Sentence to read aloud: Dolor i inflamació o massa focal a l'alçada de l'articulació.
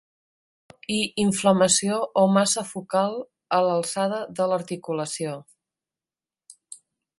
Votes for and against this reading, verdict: 0, 2, rejected